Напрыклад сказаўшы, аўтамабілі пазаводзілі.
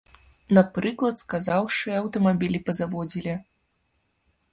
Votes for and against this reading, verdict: 2, 0, accepted